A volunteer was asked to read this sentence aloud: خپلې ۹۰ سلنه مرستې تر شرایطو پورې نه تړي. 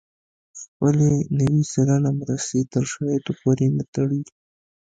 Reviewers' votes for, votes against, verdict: 0, 2, rejected